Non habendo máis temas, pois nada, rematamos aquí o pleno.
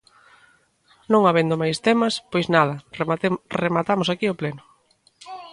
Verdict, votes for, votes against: rejected, 0, 2